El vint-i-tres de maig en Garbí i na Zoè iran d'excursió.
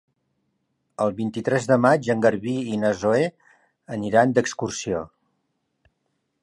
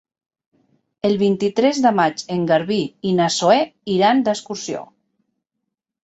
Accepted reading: second